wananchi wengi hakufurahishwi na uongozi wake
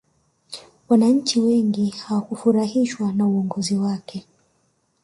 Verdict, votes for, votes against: rejected, 0, 2